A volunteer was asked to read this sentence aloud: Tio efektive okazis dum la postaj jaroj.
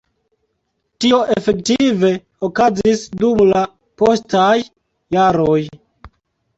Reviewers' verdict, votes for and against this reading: accepted, 2, 0